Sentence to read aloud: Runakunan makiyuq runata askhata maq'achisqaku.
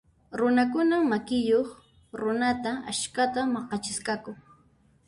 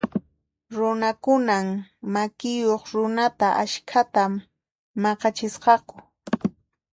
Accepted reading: second